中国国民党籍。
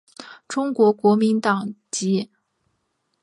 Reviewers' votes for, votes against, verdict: 2, 0, accepted